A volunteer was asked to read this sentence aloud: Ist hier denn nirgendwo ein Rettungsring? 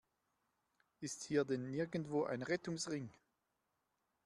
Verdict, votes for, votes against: accepted, 2, 0